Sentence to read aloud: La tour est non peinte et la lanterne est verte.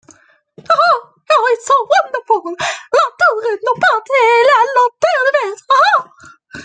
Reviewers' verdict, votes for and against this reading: rejected, 0, 2